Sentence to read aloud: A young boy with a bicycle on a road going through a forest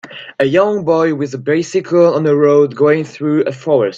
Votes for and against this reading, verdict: 2, 0, accepted